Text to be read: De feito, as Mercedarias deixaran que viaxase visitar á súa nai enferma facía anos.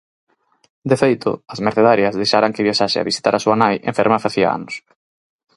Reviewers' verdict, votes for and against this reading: rejected, 0, 4